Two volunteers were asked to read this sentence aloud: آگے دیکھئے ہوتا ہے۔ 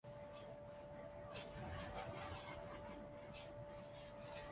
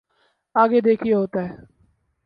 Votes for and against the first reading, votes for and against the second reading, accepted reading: 0, 3, 6, 0, second